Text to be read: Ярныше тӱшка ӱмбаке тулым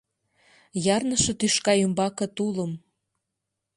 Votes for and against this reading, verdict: 2, 0, accepted